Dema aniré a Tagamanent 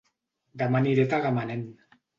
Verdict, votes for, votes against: accepted, 2, 0